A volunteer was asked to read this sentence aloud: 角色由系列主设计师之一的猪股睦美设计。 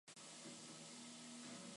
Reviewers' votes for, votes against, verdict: 0, 2, rejected